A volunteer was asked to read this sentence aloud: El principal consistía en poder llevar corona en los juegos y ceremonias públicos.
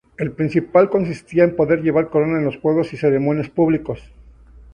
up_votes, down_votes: 0, 2